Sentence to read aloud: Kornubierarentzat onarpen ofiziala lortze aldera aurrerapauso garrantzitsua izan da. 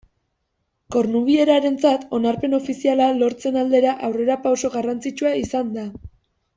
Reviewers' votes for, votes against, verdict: 2, 0, accepted